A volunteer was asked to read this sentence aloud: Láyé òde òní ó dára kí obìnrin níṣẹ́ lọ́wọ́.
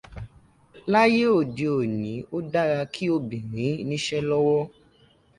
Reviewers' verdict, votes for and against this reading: accepted, 2, 0